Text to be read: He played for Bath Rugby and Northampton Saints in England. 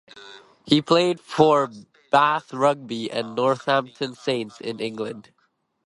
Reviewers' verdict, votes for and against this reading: accepted, 2, 0